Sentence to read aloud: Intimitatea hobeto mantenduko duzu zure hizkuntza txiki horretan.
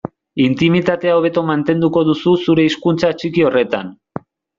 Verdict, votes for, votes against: accepted, 2, 0